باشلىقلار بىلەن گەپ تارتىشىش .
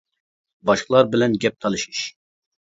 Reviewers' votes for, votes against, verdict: 0, 2, rejected